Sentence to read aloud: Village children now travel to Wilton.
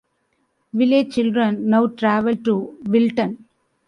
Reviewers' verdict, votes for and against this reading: rejected, 1, 2